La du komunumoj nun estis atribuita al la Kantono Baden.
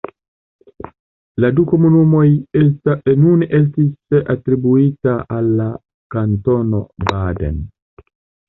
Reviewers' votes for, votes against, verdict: 1, 2, rejected